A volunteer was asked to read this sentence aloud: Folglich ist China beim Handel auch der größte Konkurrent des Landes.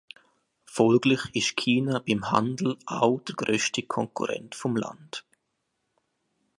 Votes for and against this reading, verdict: 0, 2, rejected